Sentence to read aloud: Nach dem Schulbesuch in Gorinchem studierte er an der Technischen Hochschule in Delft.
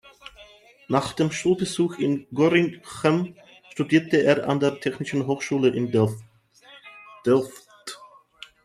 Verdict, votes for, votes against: rejected, 0, 2